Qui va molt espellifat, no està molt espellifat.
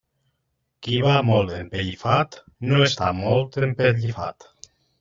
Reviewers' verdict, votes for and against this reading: rejected, 0, 2